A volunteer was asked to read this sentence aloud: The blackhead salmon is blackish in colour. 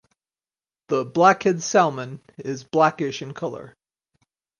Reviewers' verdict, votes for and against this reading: rejected, 2, 4